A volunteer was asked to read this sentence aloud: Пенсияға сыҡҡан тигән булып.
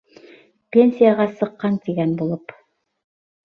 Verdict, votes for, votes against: accepted, 2, 0